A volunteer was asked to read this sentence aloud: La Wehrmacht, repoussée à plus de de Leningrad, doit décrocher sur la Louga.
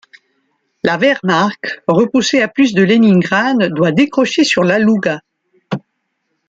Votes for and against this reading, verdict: 1, 2, rejected